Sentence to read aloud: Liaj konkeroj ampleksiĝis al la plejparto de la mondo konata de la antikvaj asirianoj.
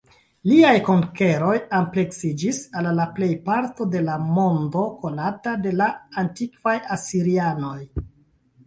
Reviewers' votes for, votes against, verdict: 2, 0, accepted